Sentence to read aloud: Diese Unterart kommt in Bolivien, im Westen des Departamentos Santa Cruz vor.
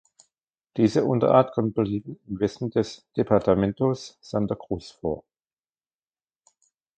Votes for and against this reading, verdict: 0, 2, rejected